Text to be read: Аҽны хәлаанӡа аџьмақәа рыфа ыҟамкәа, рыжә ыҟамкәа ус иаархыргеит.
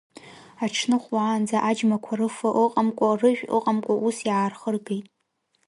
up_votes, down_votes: 2, 0